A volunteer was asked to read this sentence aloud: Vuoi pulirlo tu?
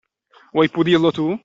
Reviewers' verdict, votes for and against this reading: accepted, 2, 0